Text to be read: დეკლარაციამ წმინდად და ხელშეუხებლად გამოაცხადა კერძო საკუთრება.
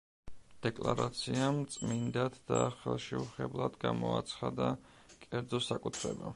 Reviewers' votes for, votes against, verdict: 1, 2, rejected